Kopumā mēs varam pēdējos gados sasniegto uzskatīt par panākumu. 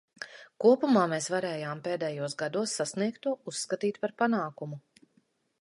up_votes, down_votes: 0, 2